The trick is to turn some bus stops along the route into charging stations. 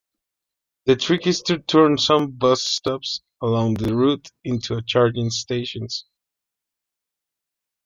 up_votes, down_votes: 2, 0